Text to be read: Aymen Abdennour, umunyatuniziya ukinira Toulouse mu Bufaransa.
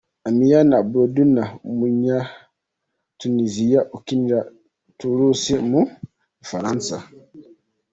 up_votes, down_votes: 2, 1